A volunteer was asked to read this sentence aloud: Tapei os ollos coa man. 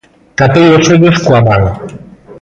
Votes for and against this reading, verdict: 1, 2, rejected